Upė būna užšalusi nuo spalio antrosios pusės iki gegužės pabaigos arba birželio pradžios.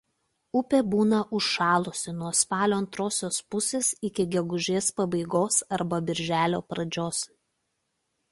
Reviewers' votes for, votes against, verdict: 2, 0, accepted